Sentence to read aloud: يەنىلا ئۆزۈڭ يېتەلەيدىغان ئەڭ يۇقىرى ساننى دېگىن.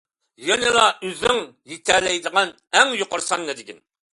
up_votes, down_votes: 2, 0